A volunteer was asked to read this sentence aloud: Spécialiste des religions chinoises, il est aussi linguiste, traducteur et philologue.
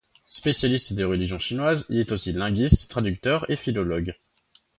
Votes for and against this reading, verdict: 1, 2, rejected